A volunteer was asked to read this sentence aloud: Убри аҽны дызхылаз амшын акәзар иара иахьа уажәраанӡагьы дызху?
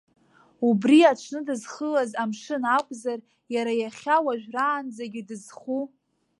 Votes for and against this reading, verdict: 2, 0, accepted